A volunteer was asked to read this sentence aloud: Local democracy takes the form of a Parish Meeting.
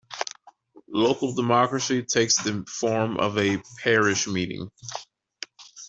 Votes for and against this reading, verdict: 3, 0, accepted